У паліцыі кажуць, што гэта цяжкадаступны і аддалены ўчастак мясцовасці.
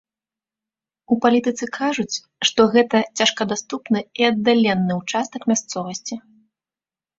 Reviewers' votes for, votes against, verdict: 0, 2, rejected